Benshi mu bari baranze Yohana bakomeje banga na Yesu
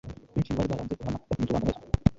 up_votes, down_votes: 1, 2